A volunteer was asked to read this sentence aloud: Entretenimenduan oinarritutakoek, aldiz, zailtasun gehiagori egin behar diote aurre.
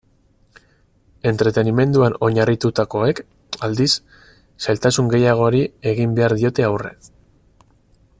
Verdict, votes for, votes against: rejected, 0, 4